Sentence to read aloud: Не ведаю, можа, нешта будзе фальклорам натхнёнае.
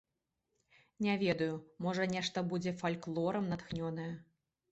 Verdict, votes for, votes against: accepted, 2, 0